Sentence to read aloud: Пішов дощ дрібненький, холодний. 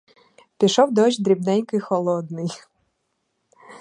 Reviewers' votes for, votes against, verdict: 0, 4, rejected